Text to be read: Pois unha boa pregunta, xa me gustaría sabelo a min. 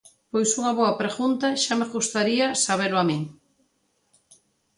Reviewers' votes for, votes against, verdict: 2, 0, accepted